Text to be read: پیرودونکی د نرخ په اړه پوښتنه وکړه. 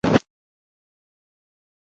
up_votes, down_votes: 1, 2